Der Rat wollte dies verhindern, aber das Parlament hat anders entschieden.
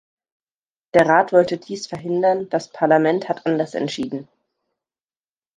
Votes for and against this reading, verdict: 0, 2, rejected